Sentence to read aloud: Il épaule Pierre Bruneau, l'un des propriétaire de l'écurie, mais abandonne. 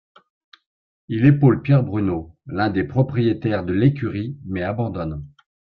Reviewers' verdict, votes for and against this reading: accepted, 2, 0